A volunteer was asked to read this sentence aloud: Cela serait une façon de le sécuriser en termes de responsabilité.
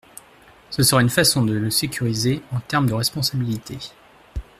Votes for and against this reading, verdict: 2, 1, accepted